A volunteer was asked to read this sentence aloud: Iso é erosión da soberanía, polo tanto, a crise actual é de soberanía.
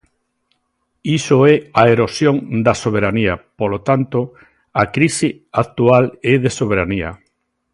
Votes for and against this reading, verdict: 1, 2, rejected